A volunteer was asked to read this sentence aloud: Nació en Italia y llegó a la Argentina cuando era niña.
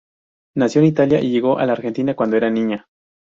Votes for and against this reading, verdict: 2, 0, accepted